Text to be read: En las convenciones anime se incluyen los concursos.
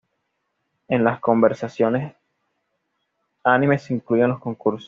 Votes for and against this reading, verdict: 1, 2, rejected